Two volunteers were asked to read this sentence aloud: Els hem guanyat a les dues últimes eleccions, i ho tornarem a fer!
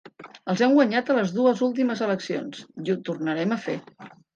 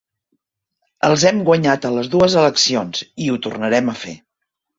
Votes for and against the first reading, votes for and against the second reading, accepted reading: 3, 1, 0, 2, first